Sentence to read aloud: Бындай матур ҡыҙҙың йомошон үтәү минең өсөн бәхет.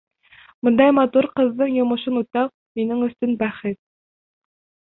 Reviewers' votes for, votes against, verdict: 1, 2, rejected